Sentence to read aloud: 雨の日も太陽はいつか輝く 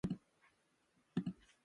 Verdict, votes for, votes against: rejected, 0, 2